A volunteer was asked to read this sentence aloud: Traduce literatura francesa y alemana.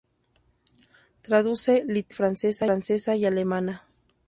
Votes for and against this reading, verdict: 0, 2, rejected